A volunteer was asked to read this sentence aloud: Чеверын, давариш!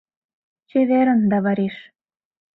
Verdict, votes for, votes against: accepted, 2, 0